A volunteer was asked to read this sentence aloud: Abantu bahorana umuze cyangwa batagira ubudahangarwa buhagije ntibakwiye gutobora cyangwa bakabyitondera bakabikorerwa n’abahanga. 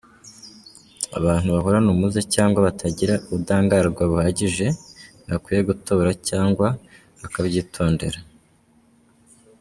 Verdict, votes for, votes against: rejected, 0, 2